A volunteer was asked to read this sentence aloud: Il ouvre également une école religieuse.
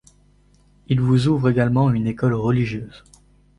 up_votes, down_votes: 0, 2